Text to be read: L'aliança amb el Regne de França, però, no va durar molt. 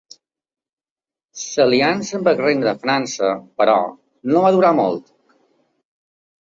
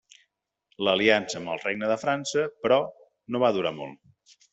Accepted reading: second